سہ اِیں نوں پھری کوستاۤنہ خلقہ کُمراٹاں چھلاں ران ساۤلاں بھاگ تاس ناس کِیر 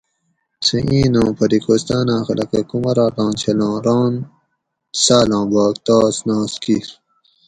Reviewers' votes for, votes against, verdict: 4, 0, accepted